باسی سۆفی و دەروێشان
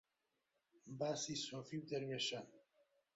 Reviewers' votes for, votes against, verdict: 2, 1, accepted